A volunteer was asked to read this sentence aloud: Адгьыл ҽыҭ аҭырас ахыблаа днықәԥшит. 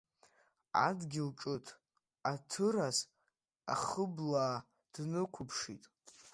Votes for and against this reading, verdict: 1, 2, rejected